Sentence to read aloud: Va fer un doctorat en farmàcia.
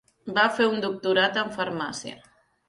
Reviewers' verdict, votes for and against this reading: accepted, 4, 0